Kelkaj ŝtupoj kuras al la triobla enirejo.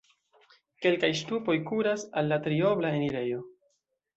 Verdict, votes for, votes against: accepted, 2, 0